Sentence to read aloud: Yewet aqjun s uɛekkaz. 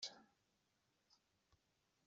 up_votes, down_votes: 1, 2